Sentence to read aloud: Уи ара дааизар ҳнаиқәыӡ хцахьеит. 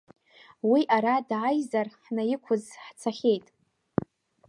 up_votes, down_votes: 2, 0